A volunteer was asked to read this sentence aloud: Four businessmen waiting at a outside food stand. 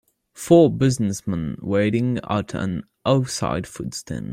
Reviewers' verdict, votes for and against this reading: accepted, 2, 0